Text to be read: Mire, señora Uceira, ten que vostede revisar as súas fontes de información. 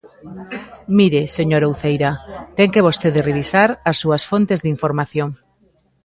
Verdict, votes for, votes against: accepted, 2, 0